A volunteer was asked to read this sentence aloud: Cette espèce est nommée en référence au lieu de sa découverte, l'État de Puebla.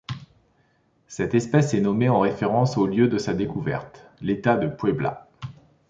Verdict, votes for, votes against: accepted, 2, 0